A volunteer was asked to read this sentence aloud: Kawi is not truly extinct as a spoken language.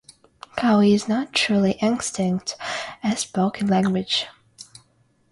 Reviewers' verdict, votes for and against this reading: accepted, 6, 0